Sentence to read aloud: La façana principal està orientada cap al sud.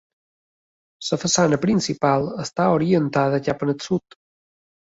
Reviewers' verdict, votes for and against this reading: accepted, 2, 0